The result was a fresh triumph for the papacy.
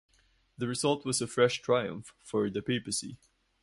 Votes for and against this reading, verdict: 0, 4, rejected